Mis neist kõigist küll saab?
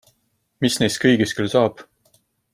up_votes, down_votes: 2, 0